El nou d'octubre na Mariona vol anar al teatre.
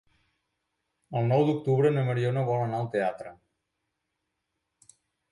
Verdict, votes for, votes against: accepted, 3, 0